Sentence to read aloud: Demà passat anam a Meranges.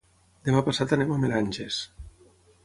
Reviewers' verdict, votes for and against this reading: rejected, 3, 3